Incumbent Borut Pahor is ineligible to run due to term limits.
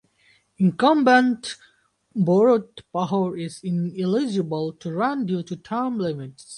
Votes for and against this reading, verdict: 2, 2, rejected